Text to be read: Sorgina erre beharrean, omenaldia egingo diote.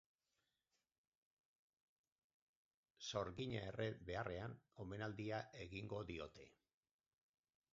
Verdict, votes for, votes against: rejected, 0, 2